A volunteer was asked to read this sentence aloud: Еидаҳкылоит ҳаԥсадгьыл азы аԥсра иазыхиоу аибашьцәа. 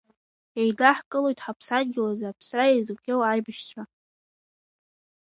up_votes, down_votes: 2, 0